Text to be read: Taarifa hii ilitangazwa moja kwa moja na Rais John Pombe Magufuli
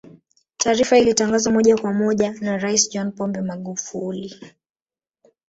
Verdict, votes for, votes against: rejected, 1, 2